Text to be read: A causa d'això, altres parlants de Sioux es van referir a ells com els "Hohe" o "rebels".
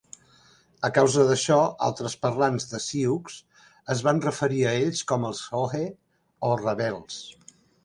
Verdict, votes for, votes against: accepted, 3, 0